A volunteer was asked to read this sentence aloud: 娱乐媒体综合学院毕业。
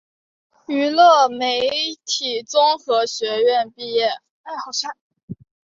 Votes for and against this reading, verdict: 4, 0, accepted